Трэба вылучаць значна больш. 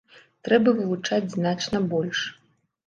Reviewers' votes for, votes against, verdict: 2, 0, accepted